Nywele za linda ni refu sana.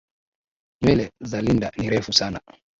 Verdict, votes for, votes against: rejected, 4, 4